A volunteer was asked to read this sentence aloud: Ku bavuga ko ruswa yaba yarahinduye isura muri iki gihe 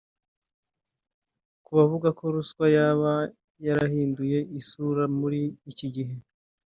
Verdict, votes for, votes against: rejected, 1, 2